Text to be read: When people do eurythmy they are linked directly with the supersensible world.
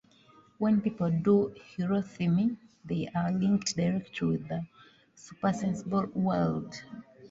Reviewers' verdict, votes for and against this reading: accepted, 2, 1